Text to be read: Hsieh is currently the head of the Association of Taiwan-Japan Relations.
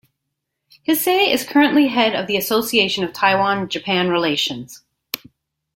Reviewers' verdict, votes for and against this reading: accepted, 2, 1